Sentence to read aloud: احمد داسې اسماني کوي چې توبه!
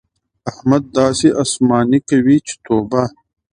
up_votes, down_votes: 2, 0